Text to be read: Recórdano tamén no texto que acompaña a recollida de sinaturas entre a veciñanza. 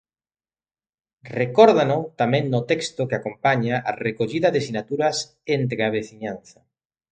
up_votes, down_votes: 2, 0